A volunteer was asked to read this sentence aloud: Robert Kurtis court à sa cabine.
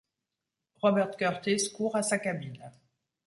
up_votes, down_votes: 2, 0